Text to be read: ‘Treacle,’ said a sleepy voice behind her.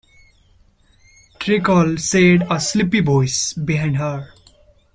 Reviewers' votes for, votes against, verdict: 0, 2, rejected